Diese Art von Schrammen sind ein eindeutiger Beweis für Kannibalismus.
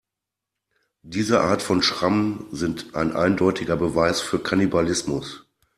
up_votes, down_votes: 2, 0